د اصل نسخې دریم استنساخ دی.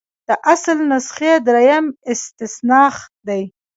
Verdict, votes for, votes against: rejected, 0, 2